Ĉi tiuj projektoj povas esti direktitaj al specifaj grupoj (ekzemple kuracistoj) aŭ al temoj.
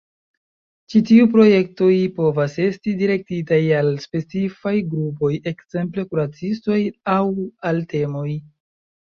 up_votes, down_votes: 0, 2